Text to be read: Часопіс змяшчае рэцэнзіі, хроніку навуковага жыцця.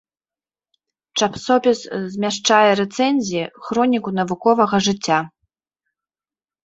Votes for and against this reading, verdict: 2, 0, accepted